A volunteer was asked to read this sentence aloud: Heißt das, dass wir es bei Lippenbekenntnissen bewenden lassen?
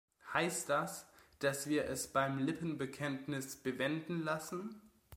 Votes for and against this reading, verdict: 1, 2, rejected